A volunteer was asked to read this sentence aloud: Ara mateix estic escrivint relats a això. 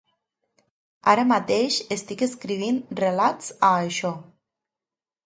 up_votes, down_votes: 2, 0